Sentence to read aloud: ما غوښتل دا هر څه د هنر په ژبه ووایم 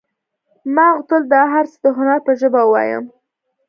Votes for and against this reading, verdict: 2, 0, accepted